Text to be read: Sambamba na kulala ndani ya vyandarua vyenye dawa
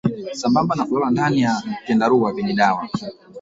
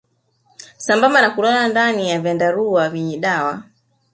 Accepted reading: first